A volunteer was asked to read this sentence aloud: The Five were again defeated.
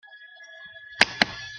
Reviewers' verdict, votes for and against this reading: rejected, 0, 3